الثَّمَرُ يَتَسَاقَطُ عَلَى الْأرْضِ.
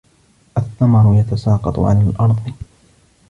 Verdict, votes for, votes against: rejected, 1, 2